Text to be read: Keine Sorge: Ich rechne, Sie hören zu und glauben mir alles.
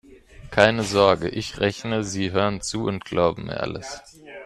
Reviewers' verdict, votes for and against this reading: rejected, 1, 2